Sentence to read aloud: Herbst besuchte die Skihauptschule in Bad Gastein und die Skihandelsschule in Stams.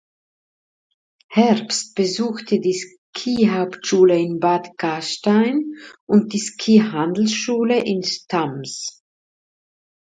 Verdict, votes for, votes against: rejected, 0, 2